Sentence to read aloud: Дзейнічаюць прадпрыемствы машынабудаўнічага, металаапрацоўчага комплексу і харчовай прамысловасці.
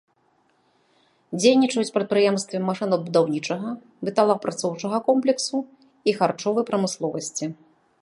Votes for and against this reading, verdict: 2, 0, accepted